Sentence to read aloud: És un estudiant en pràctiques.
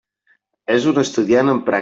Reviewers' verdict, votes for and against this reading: rejected, 0, 2